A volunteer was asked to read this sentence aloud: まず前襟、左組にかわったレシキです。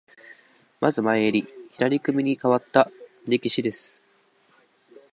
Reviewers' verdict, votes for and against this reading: rejected, 0, 4